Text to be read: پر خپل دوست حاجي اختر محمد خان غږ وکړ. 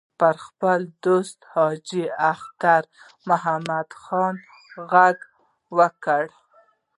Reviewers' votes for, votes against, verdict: 2, 0, accepted